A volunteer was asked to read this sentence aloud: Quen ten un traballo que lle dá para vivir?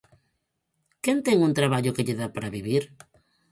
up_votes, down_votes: 4, 0